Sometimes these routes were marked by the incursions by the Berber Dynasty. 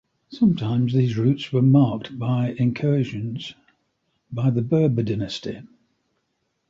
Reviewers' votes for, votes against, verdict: 0, 2, rejected